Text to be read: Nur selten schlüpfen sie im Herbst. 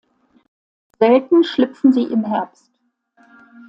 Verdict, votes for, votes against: rejected, 1, 2